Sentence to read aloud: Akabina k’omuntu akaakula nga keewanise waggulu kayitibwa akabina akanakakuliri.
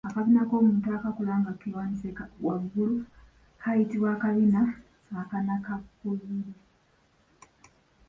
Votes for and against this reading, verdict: 0, 2, rejected